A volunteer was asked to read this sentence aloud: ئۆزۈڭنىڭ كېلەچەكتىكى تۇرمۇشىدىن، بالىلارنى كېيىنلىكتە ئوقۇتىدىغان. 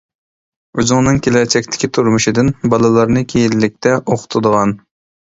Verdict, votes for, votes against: accepted, 2, 0